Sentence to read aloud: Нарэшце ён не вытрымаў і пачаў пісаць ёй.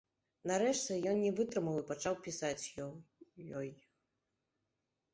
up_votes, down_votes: 1, 3